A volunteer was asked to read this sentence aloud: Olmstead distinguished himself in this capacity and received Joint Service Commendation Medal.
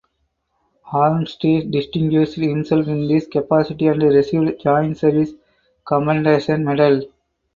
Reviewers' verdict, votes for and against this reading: rejected, 2, 4